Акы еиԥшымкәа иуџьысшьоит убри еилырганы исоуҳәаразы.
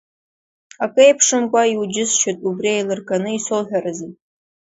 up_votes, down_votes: 2, 0